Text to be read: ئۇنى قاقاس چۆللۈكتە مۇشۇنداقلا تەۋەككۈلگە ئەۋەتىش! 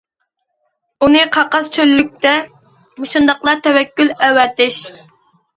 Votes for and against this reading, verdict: 0, 2, rejected